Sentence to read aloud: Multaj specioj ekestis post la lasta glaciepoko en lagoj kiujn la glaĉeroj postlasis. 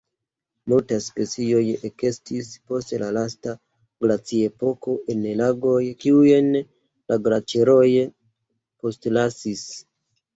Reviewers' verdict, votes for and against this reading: accepted, 2, 1